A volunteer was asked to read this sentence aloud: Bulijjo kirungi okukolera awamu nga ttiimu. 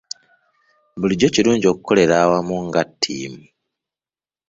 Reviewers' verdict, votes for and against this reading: accepted, 2, 0